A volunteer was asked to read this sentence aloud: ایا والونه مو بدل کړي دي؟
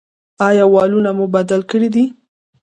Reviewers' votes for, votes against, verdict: 2, 0, accepted